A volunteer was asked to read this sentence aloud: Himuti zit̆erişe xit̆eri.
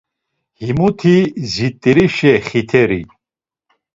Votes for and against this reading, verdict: 1, 2, rejected